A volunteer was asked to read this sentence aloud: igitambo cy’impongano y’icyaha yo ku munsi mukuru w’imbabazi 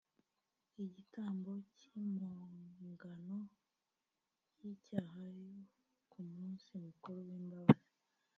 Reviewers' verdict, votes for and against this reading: rejected, 0, 2